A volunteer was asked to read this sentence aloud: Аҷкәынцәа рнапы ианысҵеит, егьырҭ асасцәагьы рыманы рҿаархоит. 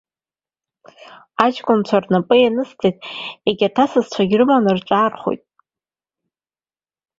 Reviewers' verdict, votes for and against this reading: accepted, 2, 0